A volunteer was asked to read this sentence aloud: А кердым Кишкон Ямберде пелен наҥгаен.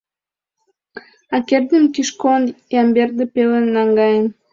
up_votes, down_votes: 2, 0